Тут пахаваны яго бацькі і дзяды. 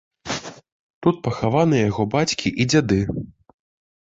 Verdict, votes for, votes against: rejected, 1, 2